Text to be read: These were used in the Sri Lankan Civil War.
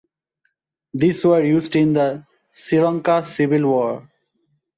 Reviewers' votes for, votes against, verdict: 1, 2, rejected